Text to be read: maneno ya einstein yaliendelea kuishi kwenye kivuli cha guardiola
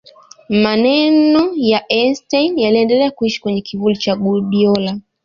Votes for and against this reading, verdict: 1, 2, rejected